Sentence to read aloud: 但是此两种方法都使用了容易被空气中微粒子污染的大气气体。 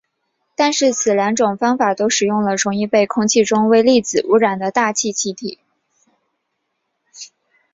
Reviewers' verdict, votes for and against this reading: accepted, 2, 0